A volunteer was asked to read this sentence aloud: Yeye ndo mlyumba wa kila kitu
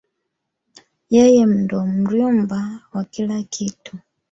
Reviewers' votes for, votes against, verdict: 1, 2, rejected